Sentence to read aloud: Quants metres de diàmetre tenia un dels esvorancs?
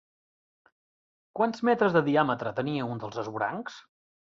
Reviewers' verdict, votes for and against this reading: rejected, 1, 2